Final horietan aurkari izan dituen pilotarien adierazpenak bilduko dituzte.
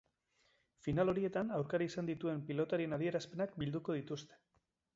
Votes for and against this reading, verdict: 2, 1, accepted